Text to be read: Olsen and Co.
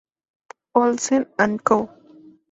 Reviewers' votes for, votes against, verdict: 2, 0, accepted